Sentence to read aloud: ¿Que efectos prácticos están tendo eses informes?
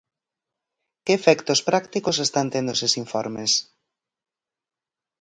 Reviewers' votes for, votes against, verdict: 4, 0, accepted